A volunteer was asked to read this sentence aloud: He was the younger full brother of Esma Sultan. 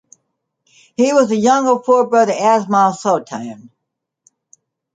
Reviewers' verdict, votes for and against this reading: rejected, 0, 2